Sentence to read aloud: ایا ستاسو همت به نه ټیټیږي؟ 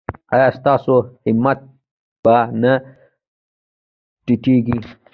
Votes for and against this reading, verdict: 1, 2, rejected